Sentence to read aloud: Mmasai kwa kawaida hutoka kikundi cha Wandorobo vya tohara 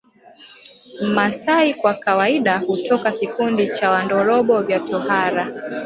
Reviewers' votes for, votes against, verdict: 0, 2, rejected